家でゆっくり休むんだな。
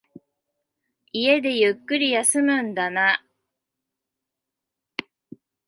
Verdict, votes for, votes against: rejected, 0, 2